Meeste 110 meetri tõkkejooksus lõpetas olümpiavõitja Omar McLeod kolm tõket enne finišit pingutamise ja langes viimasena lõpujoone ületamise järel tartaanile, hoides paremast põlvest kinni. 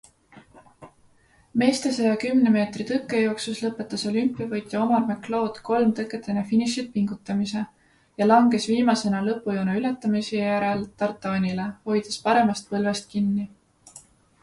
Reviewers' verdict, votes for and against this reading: rejected, 0, 2